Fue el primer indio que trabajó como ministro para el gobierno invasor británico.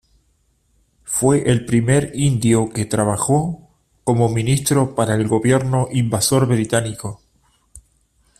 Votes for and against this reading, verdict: 1, 2, rejected